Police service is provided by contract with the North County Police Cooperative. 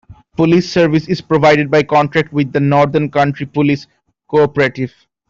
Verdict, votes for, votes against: rejected, 1, 2